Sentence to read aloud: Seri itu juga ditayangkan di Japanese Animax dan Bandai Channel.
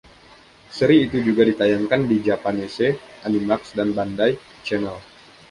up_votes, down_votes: 1, 2